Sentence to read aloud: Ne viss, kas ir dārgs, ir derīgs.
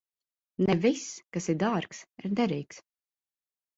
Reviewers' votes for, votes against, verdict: 0, 2, rejected